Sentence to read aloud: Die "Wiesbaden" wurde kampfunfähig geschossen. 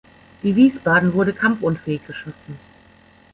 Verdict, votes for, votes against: accepted, 2, 0